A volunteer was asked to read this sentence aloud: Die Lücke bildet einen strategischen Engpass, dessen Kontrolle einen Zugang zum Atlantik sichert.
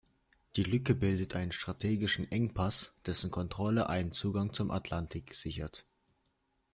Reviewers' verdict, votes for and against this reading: accepted, 2, 0